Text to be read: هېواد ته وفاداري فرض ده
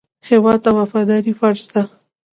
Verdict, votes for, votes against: accepted, 2, 0